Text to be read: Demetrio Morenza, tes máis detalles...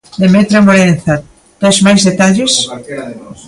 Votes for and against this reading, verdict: 1, 2, rejected